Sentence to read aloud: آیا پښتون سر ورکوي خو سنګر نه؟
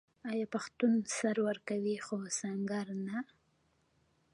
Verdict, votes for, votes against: rejected, 1, 2